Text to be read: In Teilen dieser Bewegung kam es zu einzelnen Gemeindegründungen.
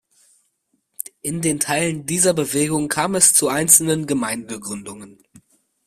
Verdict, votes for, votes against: rejected, 0, 2